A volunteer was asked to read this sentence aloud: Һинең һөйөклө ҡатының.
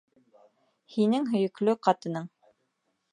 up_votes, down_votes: 2, 0